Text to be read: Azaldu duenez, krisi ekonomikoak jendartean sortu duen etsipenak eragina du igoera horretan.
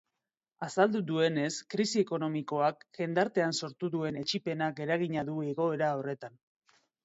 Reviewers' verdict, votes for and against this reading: accepted, 3, 0